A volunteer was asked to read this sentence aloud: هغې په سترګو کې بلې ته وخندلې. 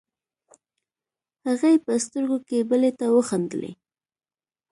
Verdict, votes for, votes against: accepted, 2, 0